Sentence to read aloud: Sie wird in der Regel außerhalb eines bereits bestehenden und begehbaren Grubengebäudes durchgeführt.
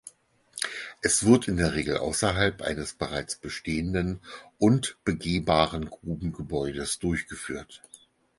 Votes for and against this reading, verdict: 0, 4, rejected